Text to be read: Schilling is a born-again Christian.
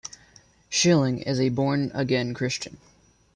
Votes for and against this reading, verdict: 0, 2, rejected